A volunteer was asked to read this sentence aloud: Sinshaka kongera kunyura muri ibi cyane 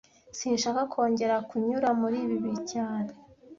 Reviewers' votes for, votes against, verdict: 1, 2, rejected